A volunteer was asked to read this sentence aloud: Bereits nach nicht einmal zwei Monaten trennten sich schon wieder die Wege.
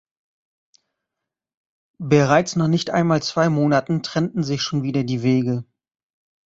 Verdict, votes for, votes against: accepted, 2, 0